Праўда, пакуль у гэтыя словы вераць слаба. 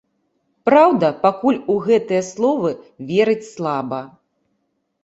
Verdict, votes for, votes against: rejected, 0, 2